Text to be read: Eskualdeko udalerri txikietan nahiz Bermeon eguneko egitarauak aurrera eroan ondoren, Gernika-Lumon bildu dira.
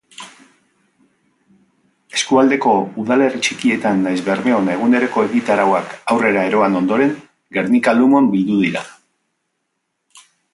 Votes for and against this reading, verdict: 2, 1, accepted